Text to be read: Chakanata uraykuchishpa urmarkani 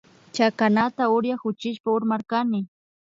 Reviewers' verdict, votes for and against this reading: accepted, 2, 0